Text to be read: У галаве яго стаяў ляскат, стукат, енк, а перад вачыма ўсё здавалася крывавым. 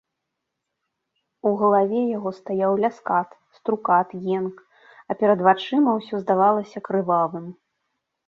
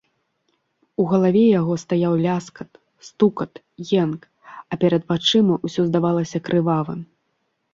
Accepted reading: second